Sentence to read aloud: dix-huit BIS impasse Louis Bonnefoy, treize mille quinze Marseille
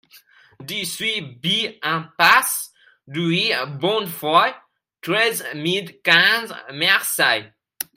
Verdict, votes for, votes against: rejected, 1, 2